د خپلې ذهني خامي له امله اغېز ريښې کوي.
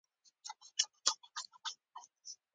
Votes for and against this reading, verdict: 0, 2, rejected